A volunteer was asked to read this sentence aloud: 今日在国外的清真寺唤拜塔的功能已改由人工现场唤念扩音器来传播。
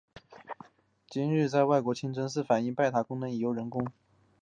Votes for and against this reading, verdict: 0, 2, rejected